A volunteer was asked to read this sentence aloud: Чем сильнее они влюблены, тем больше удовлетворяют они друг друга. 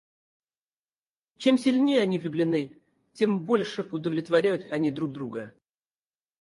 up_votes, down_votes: 0, 4